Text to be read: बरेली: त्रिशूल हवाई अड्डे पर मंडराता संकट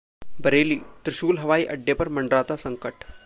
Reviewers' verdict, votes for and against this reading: rejected, 1, 2